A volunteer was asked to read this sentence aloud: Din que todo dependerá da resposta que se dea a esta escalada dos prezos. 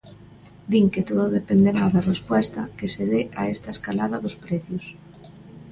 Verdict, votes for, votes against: rejected, 0, 2